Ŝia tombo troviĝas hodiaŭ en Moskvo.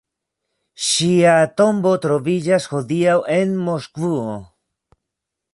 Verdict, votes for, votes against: rejected, 0, 2